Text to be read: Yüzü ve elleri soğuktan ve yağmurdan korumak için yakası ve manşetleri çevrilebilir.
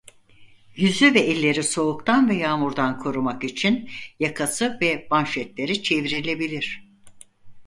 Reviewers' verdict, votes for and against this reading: accepted, 4, 0